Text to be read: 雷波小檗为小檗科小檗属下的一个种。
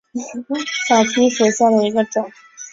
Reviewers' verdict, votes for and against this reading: rejected, 0, 4